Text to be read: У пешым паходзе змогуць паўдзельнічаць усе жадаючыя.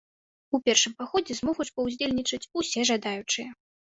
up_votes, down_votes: 1, 2